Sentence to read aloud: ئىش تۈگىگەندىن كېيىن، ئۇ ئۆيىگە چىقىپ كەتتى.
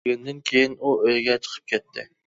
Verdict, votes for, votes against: rejected, 0, 2